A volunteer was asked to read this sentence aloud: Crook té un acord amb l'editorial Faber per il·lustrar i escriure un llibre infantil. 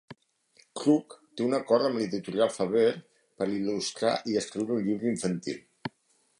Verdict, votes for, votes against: rejected, 1, 2